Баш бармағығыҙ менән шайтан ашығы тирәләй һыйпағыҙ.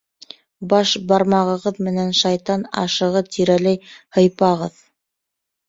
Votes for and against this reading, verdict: 4, 0, accepted